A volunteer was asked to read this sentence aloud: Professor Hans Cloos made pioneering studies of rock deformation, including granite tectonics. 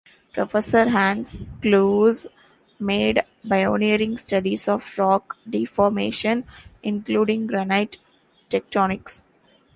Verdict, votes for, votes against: rejected, 1, 2